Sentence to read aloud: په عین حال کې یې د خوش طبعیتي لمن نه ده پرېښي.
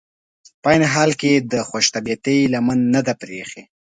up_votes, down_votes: 2, 0